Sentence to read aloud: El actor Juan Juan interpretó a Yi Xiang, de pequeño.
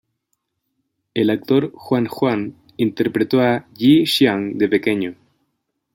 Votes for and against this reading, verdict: 2, 0, accepted